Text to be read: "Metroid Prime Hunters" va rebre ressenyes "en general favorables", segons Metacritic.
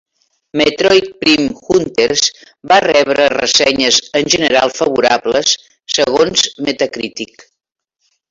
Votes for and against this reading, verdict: 1, 2, rejected